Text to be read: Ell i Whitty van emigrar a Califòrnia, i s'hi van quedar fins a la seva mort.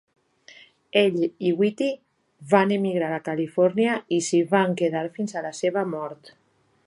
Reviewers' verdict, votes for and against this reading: accepted, 3, 0